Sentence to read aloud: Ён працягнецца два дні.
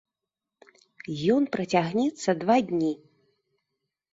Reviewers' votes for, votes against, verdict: 1, 2, rejected